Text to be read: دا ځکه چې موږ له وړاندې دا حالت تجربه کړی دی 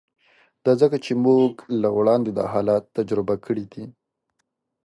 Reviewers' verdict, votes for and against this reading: rejected, 0, 2